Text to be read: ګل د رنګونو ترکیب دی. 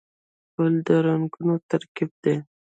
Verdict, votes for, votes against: rejected, 1, 2